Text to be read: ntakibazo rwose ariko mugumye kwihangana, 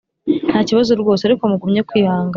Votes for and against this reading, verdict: 3, 0, accepted